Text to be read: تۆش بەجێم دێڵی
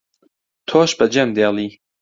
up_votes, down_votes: 2, 0